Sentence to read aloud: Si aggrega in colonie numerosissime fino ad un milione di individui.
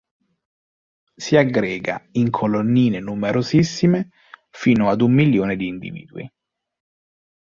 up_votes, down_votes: 1, 2